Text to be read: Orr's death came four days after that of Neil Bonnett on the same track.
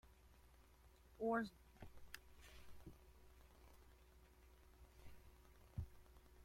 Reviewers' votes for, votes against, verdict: 0, 2, rejected